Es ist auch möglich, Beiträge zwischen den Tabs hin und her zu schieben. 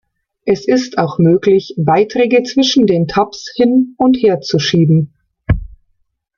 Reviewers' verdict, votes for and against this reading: accepted, 2, 0